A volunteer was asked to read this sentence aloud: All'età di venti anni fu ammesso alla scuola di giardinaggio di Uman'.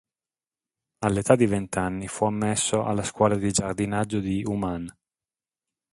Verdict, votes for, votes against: rejected, 3, 3